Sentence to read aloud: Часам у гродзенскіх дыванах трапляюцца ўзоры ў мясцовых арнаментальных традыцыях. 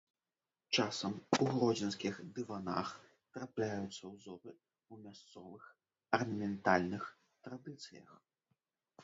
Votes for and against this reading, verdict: 0, 2, rejected